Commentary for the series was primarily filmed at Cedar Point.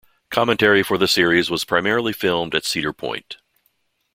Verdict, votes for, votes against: accepted, 2, 0